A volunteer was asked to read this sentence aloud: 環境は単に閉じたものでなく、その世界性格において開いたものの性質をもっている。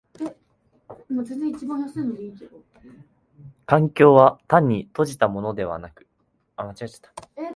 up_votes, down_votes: 0, 2